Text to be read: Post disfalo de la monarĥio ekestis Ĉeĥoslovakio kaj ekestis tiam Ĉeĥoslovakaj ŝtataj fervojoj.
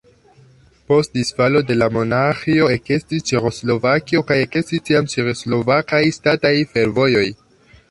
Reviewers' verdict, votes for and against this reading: accepted, 2, 0